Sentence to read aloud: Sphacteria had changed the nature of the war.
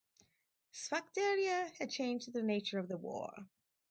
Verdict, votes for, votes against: accepted, 4, 0